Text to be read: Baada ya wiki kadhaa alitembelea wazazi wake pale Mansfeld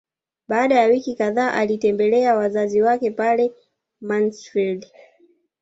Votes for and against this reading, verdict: 2, 0, accepted